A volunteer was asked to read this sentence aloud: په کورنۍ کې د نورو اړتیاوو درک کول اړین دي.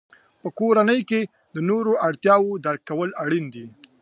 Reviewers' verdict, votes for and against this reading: accepted, 2, 0